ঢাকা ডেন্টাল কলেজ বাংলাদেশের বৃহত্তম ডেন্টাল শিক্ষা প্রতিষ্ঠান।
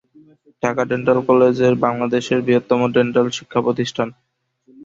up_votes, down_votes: 4, 7